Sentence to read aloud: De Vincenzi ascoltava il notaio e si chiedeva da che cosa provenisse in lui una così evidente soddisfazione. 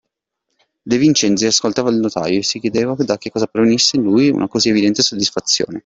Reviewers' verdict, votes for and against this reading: accepted, 2, 0